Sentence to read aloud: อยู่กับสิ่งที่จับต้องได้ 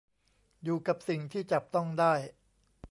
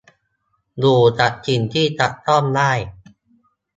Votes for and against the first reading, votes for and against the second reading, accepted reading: 1, 2, 2, 0, second